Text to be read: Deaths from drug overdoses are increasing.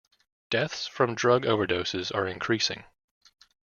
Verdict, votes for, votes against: accepted, 2, 0